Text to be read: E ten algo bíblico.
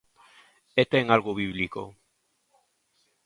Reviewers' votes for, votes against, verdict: 2, 0, accepted